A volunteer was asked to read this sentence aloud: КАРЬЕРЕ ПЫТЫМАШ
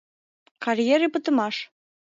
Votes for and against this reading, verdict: 2, 0, accepted